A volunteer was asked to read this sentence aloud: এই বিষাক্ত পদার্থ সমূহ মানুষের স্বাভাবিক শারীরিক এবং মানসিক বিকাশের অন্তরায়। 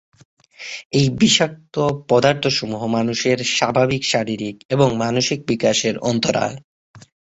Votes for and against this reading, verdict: 6, 0, accepted